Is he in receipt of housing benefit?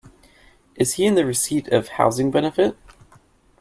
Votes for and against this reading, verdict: 1, 2, rejected